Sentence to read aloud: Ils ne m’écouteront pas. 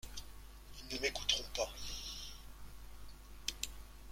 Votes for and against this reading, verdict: 1, 2, rejected